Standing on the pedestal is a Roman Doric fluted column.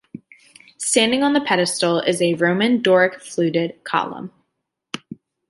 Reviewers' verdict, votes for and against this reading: accepted, 2, 0